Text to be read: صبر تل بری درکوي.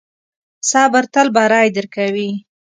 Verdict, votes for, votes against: accepted, 2, 1